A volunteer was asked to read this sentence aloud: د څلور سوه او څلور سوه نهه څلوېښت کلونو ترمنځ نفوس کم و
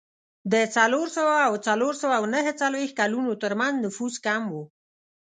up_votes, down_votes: 2, 0